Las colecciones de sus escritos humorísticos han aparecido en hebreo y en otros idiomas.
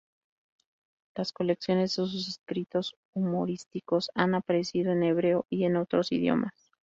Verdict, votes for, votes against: rejected, 2, 4